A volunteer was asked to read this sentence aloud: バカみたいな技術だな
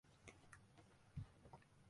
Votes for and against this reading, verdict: 1, 2, rejected